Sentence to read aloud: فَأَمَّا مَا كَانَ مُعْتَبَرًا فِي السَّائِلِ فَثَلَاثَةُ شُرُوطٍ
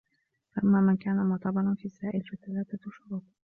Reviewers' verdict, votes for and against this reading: rejected, 1, 2